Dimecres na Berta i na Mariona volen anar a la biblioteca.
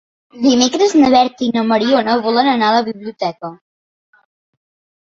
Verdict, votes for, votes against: accepted, 3, 0